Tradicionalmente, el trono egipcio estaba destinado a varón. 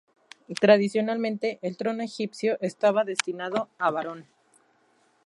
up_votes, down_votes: 0, 2